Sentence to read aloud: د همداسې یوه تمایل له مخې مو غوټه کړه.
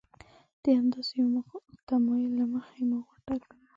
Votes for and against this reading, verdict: 0, 2, rejected